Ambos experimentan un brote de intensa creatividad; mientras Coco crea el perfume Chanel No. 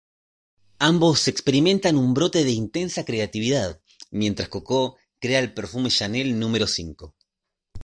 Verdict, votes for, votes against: rejected, 0, 2